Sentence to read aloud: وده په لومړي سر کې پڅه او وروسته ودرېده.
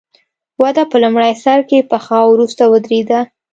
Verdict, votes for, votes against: rejected, 1, 2